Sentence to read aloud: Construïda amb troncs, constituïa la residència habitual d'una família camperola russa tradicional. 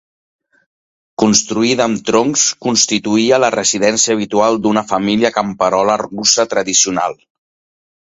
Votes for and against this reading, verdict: 2, 0, accepted